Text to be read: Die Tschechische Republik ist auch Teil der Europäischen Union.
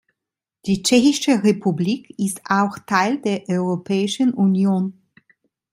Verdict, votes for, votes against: rejected, 1, 2